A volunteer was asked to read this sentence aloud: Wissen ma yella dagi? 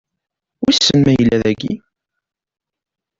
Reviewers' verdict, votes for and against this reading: rejected, 1, 2